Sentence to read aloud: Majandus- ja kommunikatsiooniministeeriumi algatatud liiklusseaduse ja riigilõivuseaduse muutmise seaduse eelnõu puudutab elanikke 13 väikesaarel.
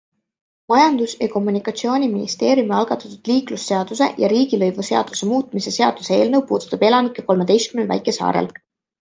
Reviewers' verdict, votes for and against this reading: rejected, 0, 2